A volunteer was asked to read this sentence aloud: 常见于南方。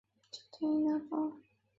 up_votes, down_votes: 0, 2